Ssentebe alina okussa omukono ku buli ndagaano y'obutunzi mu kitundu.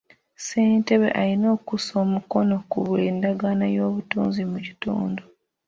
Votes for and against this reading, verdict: 2, 1, accepted